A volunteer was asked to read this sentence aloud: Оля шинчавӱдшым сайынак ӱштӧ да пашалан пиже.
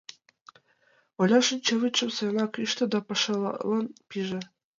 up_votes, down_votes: 1, 2